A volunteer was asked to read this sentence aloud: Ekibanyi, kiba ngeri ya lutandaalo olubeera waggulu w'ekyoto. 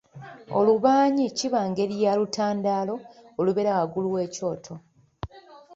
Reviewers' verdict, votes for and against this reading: rejected, 0, 2